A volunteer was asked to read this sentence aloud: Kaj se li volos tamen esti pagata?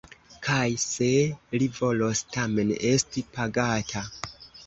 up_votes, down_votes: 1, 2